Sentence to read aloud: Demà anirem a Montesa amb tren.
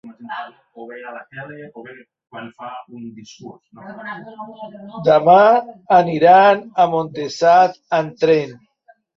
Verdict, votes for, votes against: rejected, 0, 2